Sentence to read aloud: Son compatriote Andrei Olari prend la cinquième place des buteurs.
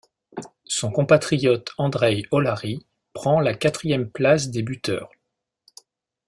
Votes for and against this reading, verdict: 0, 2, rejected